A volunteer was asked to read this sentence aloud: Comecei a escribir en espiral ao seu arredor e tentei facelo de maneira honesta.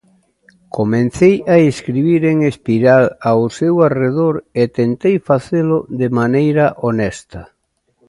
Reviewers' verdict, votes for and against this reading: rejected, 0, 2